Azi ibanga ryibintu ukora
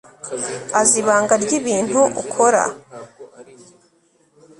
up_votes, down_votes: 3, 0